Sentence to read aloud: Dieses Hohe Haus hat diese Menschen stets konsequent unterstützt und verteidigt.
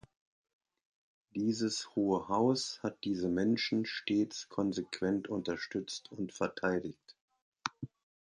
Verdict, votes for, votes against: accepted, 2, 0